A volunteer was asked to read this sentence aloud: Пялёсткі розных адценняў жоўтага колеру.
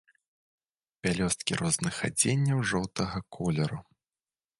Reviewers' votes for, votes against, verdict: 2, 0, accepted